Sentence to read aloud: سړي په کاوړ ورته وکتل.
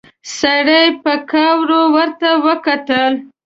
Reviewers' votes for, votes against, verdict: 1, 2, rejected